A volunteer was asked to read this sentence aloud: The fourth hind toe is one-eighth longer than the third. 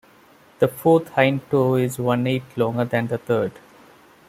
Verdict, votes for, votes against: accepted, 2, 0